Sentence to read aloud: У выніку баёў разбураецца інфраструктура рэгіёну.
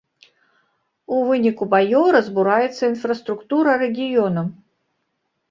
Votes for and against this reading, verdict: 2, 1, accepted